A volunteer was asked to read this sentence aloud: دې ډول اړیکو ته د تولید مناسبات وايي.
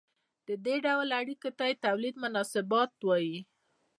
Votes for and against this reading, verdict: 2, 0, accepted